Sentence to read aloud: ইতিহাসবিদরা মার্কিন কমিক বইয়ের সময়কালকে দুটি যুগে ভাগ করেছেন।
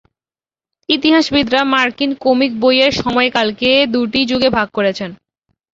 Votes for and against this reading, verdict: 2, 0, accepted